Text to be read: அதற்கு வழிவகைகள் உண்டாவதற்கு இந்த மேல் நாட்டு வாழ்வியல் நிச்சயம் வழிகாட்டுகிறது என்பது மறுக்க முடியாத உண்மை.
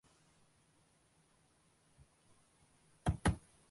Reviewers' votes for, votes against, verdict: 0, 2, rejected